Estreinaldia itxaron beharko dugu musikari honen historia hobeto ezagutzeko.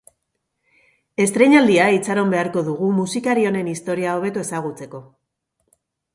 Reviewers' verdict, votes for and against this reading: accepted, 2, 0